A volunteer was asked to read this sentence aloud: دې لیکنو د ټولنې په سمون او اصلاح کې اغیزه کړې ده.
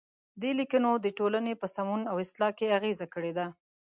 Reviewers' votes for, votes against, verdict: 2, 0, accepted